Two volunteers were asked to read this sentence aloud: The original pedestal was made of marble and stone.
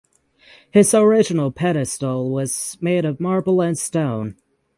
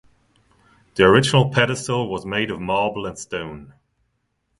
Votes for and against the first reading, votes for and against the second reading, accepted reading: 0, 6, 2, 0, second